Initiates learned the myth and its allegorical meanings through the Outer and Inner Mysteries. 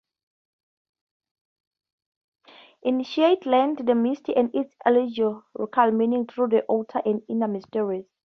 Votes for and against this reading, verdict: 0, 2, rejected